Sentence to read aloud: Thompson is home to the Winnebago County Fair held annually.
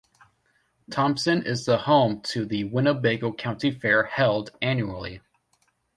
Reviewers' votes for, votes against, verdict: 0, 2, rejected